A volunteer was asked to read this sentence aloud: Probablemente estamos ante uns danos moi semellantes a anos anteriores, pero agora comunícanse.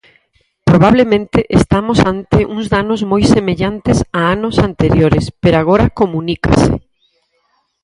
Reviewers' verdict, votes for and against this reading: rejected, 0, 4